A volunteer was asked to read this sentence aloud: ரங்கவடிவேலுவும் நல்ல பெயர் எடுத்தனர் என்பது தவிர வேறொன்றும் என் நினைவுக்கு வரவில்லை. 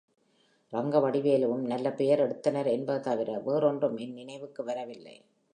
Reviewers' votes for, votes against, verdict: 2, 1, accepted